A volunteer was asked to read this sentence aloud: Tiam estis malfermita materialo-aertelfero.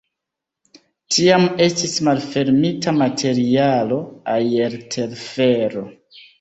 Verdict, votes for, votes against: rejected, 1, 2